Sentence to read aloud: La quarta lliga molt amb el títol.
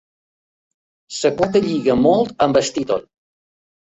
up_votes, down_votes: 1, 2